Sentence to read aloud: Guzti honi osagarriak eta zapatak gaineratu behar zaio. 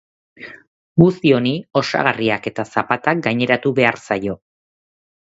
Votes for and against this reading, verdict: 2, 0, accepted